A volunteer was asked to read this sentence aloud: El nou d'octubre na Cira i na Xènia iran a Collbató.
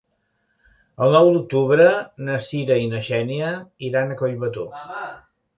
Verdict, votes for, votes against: rejected, 1, 2